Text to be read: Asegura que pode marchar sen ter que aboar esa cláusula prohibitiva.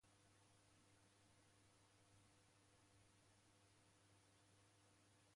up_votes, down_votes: 0, 2